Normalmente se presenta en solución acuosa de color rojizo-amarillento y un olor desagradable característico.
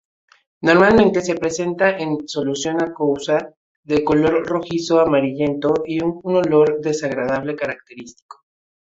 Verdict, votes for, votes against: accepted, 2, 0